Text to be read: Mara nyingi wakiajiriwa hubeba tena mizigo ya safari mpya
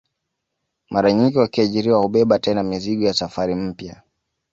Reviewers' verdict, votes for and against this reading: accepted, 2, 0